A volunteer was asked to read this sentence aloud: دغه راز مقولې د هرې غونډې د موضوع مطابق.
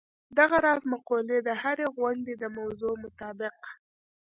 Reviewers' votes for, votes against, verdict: 1, 2, rejected